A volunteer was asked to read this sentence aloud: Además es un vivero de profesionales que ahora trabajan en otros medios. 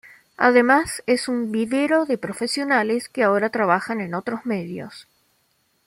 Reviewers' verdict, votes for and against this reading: accepted, 2, 0